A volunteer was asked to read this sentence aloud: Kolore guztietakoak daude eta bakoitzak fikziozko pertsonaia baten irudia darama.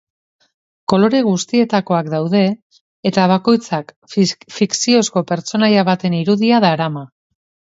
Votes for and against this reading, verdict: 1, 3, rejected